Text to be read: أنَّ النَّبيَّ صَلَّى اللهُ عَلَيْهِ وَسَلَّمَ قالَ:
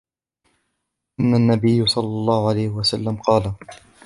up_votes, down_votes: 1, 2